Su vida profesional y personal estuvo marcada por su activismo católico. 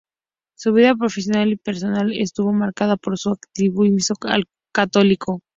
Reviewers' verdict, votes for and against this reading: rejected, 0, 2